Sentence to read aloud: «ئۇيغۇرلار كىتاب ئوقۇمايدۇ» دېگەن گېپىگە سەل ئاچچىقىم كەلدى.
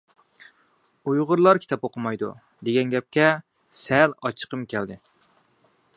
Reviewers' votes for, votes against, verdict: 1, 2, rejected